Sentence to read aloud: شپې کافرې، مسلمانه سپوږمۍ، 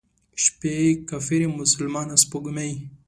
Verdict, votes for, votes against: accepted, 2, 0